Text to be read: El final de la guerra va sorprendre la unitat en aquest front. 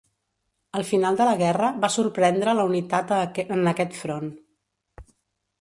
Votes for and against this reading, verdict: 1, 2, rejected